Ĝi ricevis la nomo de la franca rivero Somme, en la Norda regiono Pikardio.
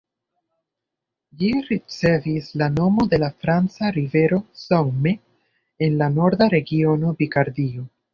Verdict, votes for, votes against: accepted, 2, 0